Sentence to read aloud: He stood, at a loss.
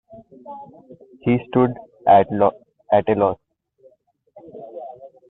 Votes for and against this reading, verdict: 0, 2, rejected